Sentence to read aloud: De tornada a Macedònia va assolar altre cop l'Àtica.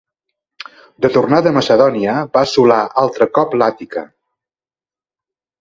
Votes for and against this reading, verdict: 2, 0, accepted